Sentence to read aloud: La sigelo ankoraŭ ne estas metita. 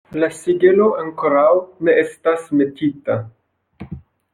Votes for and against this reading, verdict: 2, 1, accepted